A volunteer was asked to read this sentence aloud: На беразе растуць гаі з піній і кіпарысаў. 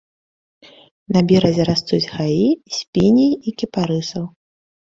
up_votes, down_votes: 3, 0